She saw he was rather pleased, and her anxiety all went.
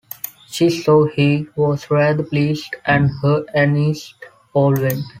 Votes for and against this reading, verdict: 2, 1, accepted